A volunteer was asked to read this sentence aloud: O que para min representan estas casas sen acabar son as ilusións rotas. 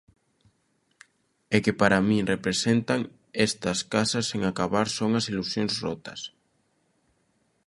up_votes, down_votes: 0, 2